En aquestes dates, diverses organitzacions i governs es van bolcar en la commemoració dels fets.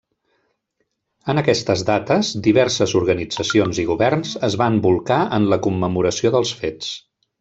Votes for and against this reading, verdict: 2, 1, accepted